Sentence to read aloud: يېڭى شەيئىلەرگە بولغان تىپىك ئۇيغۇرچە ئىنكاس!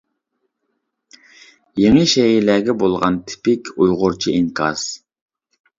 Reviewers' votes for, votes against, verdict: 2, 0, accepted